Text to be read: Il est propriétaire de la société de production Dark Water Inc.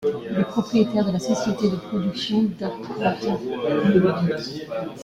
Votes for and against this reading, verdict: 0, 2, rejected